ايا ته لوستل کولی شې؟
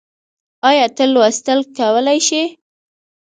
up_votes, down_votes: 2, 1